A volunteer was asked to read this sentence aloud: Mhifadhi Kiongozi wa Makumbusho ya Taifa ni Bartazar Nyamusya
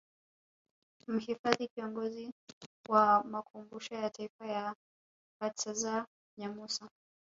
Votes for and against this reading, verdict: 1, 2, rejected